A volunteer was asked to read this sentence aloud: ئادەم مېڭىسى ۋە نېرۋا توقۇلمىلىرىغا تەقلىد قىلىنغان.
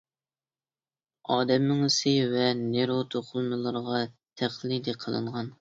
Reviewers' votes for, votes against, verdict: 1, 2, rejected